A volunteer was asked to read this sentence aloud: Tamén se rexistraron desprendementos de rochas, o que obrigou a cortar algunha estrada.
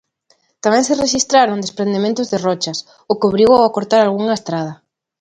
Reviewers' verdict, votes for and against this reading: accepted, 2, 0